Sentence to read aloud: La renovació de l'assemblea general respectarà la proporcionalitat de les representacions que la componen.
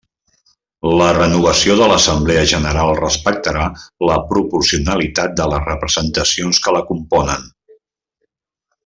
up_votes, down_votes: 3, 0